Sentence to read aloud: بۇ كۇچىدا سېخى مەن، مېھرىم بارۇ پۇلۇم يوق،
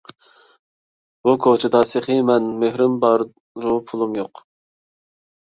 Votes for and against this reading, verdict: 1, 2, rejected